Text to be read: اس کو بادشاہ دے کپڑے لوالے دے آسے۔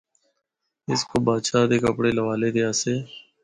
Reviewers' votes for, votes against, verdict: 4, 0, accepted